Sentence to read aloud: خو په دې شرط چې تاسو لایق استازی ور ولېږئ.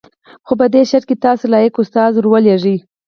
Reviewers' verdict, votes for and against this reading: accepted, 4, 0